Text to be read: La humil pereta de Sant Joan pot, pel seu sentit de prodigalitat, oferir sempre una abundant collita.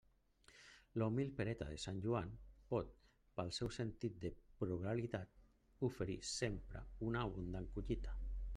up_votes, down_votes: 0, 2